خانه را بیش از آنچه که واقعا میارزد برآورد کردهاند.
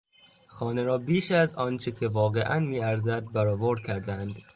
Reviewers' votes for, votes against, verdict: 2, 0, accepted